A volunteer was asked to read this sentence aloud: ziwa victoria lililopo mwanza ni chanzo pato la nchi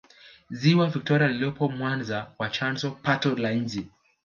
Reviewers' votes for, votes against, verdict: 0, 2, rejected